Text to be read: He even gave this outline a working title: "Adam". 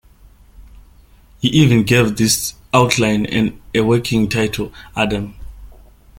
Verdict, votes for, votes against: rejected, 1, 2